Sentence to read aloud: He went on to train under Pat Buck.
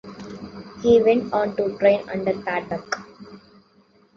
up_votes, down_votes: 2, 0